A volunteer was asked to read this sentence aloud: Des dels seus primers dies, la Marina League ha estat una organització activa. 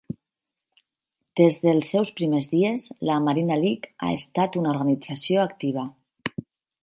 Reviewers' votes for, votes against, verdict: 8, 2, accepted